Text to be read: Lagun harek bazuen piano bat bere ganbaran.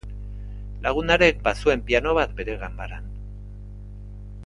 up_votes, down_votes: 2, 0